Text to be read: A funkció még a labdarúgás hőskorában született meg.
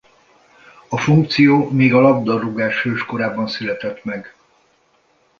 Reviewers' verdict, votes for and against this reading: accepted, 2, 0